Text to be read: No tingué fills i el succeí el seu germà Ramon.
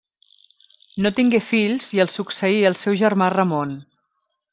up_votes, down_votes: 3, 0